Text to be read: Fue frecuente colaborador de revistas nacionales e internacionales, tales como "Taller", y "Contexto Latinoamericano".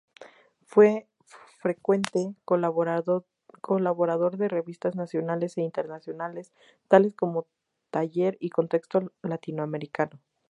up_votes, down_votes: 2, 0